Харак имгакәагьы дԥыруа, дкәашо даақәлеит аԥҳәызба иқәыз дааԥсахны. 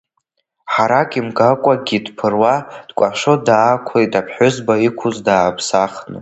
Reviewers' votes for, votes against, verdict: 2, 1, accepted